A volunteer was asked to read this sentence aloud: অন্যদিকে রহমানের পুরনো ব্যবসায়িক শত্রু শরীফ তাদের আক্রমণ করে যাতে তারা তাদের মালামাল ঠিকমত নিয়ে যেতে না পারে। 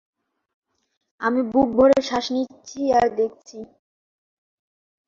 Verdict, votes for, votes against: rejected, 0, 5